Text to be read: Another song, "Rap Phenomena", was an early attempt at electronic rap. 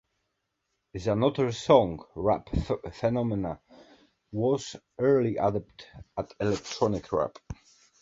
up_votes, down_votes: 1, 3